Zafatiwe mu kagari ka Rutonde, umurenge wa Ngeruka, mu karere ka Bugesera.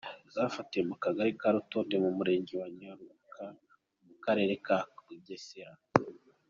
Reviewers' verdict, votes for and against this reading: accepted, 2, 0